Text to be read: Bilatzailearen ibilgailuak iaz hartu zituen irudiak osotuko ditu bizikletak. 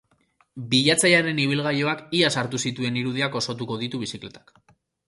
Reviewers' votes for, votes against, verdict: 2, 0, accepted